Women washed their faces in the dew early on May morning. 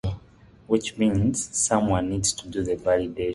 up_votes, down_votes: 0, 2